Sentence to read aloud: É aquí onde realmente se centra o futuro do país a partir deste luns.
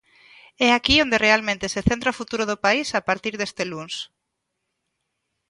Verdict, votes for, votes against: accepted, 2, 0